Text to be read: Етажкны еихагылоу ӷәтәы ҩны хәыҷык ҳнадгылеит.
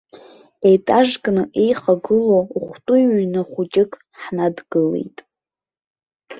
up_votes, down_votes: 2, 0